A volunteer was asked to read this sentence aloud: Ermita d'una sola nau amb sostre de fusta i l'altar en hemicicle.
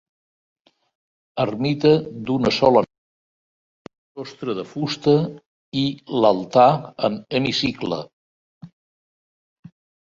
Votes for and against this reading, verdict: 1, 2, rejected